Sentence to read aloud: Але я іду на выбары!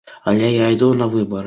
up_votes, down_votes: 2, 0